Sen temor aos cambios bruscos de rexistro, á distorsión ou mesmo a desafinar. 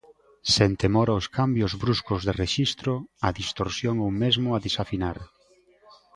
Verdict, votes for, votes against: accepted, 2, 1